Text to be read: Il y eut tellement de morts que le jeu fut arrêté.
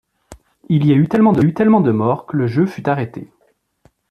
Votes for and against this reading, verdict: 0, 2, rejected